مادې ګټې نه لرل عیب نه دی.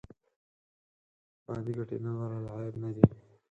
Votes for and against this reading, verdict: 4, 2, accepted